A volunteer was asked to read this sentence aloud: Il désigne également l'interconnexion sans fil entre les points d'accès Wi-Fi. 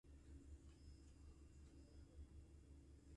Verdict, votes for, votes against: rejected, 0, 2